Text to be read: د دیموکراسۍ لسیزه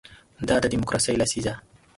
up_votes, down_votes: 0, 2